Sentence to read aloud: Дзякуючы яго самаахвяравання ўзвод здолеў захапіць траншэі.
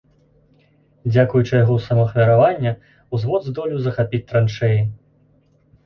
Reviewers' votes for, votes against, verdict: 2, 0, accepted